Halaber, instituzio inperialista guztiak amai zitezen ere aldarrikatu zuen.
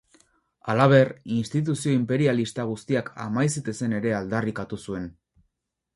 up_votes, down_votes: 4, 0